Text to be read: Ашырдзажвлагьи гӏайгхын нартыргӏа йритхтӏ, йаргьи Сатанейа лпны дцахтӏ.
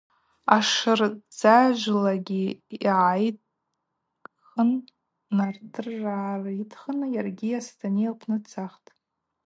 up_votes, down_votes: 0, 2